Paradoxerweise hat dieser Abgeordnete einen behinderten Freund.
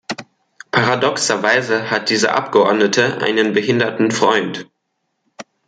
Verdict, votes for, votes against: accepted, 2, 0